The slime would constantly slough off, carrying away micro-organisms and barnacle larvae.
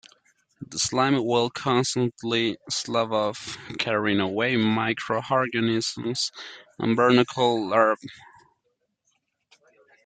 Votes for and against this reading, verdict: 1, 2, rejected